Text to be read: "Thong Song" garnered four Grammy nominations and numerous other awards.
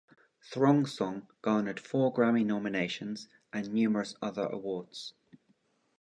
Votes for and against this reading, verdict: 1, 2, rejected